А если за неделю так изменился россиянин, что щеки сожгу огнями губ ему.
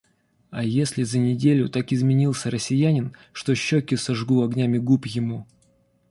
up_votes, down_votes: 2, 0